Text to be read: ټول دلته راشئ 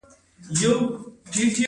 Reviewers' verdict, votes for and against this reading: rejected, 1, 2